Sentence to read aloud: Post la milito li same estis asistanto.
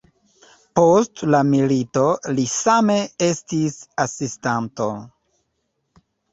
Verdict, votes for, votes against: accepted, 3, 1